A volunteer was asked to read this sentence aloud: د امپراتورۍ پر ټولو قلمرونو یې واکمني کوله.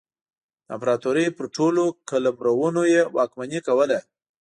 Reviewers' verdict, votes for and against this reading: accepted, 2, 0